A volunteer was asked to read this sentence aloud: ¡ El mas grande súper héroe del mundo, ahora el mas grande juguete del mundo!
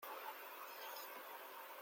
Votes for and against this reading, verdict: 0, 2, rejected